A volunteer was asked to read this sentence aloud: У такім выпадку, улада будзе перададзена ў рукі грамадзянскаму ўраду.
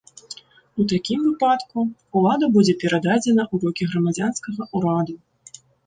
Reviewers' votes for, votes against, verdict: 1, 2, rejected